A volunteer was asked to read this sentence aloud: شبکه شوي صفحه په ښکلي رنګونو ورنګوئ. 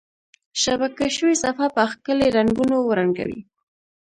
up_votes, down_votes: 2, 0